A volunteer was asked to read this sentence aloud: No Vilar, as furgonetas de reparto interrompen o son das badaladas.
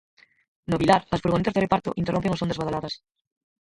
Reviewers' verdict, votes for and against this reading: rejected, 0, 4